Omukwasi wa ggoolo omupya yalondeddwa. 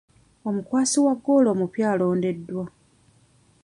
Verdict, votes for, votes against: rejected, 1, 2